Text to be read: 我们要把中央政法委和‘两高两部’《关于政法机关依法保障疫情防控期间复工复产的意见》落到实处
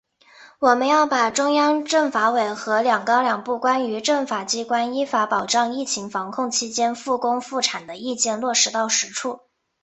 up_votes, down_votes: 2, 0